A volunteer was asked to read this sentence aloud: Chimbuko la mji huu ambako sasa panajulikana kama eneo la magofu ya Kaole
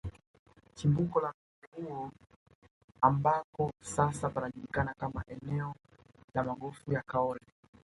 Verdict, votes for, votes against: rejected, 1, 2